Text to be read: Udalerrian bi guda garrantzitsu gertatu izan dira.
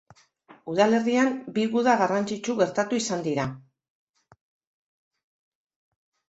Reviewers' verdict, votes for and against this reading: accepted, 2, 0